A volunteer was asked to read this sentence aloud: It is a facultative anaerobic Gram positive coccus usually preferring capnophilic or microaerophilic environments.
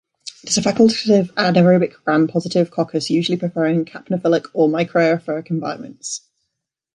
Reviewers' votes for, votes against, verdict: 1, 2, rejected